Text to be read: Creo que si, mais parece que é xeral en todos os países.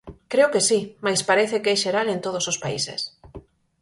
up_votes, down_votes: 4, 0